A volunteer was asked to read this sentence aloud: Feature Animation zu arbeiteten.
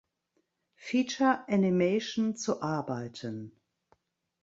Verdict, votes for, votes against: rejected, 1, 2